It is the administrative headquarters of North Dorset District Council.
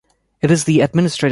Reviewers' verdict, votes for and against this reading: rejected, 0, 2